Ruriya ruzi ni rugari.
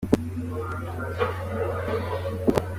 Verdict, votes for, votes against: rejected, 1, 3